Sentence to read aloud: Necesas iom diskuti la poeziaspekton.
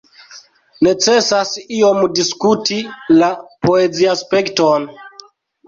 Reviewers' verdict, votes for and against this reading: rejected, 1, 2